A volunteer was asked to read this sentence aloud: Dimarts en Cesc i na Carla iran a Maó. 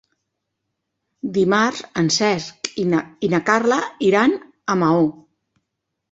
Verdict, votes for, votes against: rejected, 1, 2